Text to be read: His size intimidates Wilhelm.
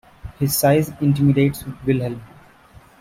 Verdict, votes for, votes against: accepted, 2, 1